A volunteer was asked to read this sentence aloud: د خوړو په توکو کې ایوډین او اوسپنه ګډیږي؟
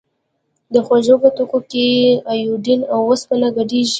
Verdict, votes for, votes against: accepted, 2, 1